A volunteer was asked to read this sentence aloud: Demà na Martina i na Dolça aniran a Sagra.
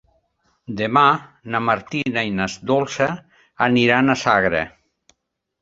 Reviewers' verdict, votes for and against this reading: rejected, 1, 2